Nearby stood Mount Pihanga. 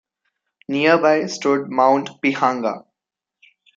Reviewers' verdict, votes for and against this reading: accepted, 2, 0